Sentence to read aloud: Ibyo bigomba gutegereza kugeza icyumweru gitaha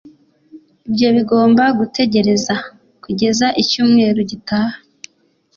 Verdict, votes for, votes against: accepted, 2, 0